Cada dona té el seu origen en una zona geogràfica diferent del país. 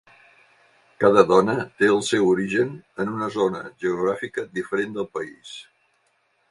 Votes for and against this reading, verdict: 5, 0, accepted